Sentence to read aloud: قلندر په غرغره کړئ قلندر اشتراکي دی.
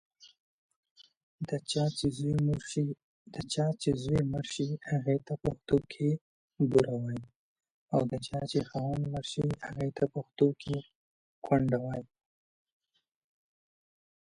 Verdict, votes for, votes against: rejected, 0, 2